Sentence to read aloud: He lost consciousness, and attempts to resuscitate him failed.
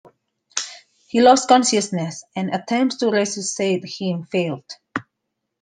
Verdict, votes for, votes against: rejected, 0, 2